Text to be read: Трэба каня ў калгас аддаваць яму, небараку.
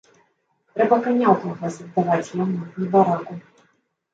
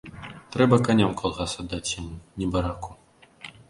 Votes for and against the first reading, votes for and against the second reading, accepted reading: 2, 1, 1, 2, first